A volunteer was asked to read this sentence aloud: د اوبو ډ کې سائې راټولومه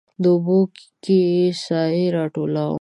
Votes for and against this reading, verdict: 1, 2, rejected